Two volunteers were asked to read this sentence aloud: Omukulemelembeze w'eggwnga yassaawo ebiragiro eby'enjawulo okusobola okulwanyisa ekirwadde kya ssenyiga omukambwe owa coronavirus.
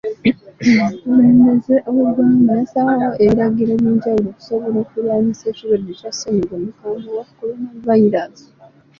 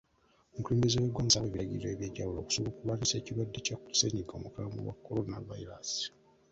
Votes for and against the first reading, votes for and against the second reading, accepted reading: 2, 0, 1, 2, first